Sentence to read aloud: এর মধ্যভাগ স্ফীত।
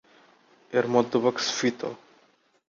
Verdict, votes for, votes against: accepted, 2, 0